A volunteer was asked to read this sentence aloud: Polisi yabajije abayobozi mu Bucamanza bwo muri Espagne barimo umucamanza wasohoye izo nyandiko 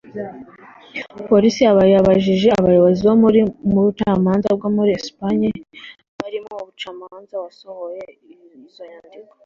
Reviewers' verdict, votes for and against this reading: rejected, 1, 2